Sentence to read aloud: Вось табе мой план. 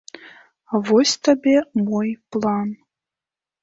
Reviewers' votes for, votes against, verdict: 3, 0, accepted